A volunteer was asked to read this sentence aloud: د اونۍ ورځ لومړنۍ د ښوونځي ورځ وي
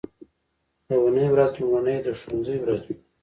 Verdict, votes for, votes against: accepted, 3, 0